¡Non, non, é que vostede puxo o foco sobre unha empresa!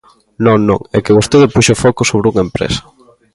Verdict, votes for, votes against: accepted, 2, 0